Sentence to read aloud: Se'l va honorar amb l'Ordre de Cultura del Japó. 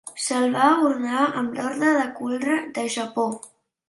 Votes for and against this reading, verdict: 0, 2, rejected